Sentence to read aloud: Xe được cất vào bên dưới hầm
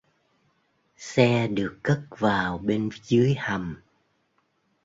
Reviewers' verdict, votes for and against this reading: accepted, 2, 0